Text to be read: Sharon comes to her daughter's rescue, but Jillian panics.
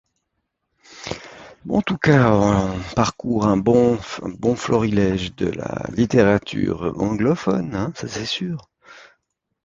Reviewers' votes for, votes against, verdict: 0, 2, rejected